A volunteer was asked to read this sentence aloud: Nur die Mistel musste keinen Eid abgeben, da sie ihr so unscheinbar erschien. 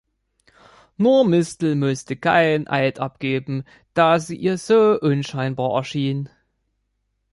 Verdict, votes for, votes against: rejected, 1, 2